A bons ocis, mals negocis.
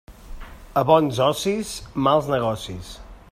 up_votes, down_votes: 2, 0